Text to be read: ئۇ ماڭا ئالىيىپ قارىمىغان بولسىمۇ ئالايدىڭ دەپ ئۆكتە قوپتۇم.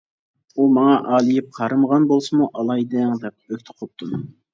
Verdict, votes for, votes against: accepted, 2, 0